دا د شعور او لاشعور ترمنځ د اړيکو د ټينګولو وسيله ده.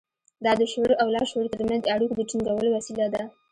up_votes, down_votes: 2, 0